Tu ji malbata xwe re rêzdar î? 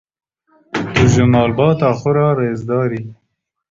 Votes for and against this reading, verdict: 1, 2, rejected